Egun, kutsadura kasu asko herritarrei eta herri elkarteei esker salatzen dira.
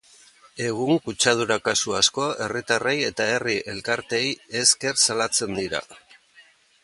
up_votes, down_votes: 2, 0